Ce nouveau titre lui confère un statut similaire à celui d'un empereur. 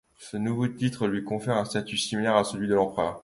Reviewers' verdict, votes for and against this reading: accepted, 2, 0